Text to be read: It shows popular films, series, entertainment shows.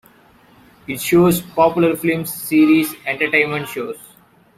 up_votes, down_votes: 2, 0